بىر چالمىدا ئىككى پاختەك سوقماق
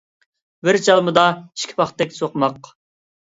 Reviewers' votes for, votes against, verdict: 2, 0, accepted